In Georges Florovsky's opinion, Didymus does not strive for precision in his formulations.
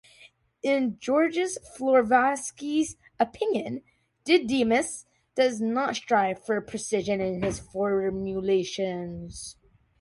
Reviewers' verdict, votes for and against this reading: accepted, 2, 0